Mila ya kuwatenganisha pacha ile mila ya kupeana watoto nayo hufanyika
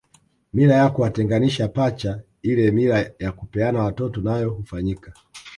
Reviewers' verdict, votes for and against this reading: rejected, 1, 2